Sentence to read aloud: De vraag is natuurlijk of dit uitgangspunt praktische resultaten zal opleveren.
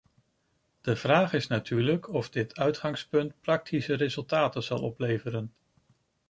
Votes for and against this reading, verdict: 2, 0, accepted